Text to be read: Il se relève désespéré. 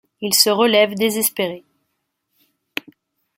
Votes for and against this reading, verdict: 2, 0, accepted